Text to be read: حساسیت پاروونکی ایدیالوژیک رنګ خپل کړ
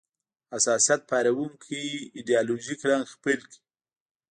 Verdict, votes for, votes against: rejected, 1, 2